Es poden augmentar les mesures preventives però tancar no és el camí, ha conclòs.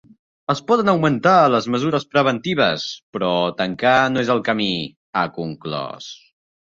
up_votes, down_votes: 2, 0